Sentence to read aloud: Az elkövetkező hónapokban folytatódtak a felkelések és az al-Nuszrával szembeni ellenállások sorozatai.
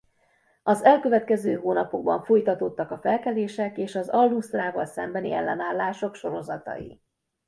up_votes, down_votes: 2, 0